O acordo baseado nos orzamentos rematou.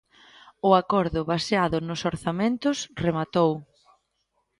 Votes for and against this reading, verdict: 2, 0, accepted